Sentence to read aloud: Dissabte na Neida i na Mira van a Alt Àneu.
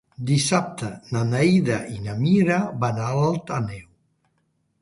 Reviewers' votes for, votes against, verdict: 0, 2, rejected